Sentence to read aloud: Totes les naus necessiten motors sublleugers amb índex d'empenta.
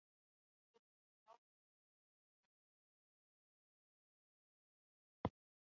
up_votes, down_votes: 0, 3